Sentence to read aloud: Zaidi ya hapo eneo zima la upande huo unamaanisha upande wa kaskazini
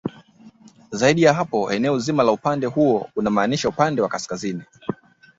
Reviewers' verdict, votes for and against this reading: accepted, 2, 0